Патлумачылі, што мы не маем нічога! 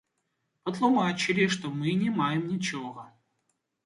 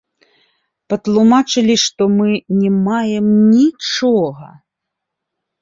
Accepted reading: second